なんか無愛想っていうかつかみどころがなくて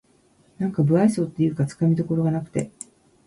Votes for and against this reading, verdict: 2, 1, accepted